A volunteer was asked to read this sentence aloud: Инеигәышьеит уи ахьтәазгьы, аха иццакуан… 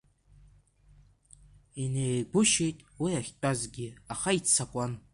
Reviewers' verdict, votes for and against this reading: rejected, 0, 2